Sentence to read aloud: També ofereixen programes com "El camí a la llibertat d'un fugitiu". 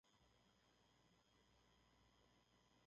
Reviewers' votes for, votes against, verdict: 0, 2, rejected